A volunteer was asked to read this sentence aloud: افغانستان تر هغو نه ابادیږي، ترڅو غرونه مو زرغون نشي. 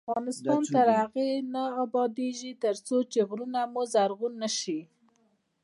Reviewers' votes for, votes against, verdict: 2, 0, accepted